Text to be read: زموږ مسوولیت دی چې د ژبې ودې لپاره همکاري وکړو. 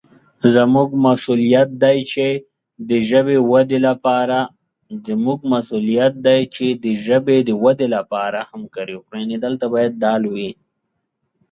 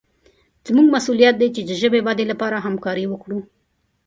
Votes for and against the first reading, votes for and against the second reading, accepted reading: 0, 4, 2, 0, second